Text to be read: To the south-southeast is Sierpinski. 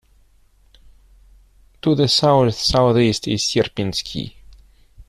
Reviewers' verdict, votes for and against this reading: rejected, 1, 2